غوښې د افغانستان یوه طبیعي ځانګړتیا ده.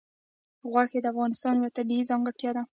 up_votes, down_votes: 1, 2